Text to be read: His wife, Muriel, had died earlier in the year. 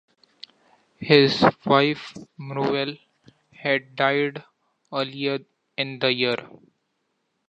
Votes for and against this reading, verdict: 2, 0, accepted